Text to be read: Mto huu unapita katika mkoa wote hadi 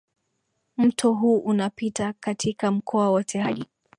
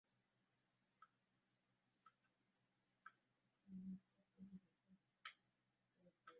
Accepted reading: first